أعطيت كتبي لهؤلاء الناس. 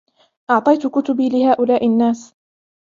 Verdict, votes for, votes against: rejected, 1, 2